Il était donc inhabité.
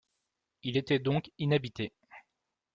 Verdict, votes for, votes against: accepted, 2, 0